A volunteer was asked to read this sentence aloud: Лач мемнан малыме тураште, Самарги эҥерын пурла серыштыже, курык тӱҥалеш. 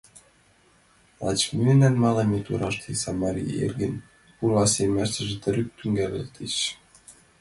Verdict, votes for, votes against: rejected, 0, 3